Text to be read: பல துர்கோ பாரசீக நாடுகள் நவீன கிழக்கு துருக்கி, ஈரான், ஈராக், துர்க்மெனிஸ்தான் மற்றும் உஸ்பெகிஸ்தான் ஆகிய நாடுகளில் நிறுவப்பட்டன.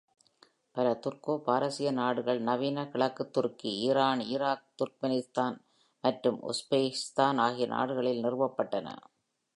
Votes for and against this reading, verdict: 0, 2, rejected